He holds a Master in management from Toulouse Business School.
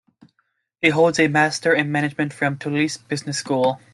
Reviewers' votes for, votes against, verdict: 2, 0, accepted